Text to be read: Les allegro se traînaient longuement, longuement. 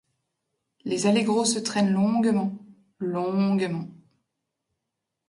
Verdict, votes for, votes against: rejected, 0, 3